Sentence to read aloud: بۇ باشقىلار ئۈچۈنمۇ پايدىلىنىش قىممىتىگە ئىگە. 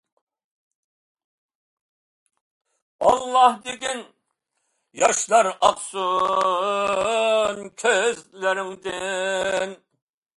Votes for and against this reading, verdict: 0, 2, rejected